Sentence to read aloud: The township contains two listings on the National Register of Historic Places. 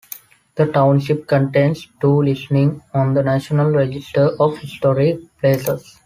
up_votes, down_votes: 2, 1